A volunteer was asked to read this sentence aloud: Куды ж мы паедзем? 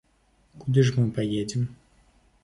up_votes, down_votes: 3, 0